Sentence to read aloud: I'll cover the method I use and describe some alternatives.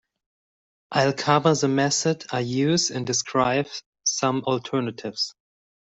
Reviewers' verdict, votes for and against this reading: accepted, 2, 0